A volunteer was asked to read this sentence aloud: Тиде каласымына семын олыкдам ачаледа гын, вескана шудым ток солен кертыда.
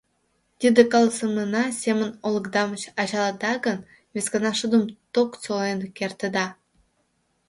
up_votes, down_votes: 1, 2